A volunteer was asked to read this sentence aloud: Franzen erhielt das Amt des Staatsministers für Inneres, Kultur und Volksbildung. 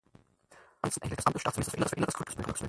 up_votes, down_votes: 0, 4